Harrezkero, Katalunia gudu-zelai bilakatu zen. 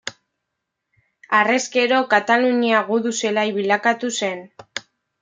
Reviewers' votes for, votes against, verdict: 2, 0, accepted